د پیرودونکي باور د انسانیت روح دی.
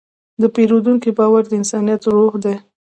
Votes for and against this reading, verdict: 2, 0, accepted